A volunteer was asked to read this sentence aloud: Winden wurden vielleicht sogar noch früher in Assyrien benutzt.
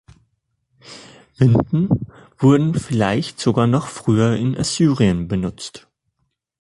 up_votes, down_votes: 3, 0